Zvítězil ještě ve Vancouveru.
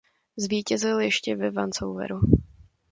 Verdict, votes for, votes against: rejected, 1, 2